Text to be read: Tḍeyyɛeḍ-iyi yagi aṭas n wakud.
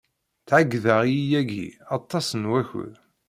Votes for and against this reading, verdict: 2, 0, accepted